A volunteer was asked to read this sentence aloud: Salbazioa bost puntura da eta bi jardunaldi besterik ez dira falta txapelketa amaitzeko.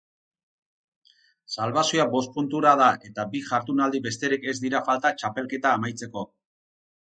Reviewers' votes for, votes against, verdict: 0, 2, rejected